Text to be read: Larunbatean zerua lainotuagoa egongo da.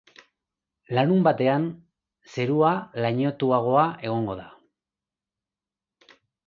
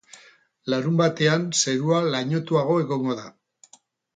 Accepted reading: first